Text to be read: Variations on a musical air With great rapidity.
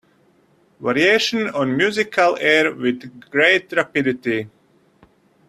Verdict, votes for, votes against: rejected, 1, 2